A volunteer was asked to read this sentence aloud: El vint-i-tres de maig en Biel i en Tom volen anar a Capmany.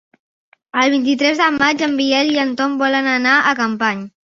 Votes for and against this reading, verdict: 2, 0, accepted